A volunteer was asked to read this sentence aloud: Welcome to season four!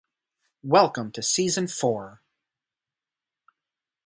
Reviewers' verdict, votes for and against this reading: accepted, 2, 0